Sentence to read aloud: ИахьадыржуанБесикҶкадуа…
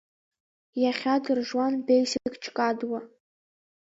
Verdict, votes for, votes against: accepted, 2, 1